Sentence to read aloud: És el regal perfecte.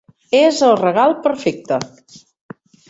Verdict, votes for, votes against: accepted, 4, 0